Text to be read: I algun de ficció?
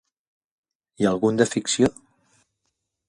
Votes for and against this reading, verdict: 4, 0, accepted